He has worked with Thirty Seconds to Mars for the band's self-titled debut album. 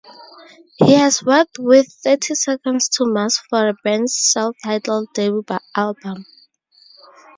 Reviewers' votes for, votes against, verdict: 0, 4, rejected